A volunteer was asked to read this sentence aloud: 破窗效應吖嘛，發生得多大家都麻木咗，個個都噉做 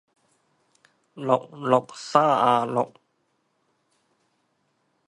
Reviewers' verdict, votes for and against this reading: rejected, 0, 2